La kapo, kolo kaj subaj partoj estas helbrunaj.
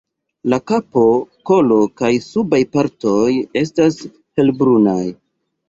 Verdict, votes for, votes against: accepted, 2, 1